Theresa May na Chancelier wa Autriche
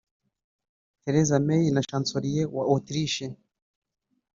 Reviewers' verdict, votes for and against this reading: accepted, 2, 0